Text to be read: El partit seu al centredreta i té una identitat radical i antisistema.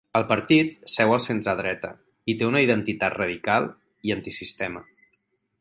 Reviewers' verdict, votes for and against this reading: accepted, 4, 0